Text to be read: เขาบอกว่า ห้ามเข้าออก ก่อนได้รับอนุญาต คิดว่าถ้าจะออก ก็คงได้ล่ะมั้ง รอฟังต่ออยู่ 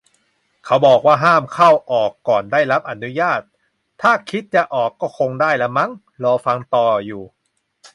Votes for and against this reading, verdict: 0, 2, rejected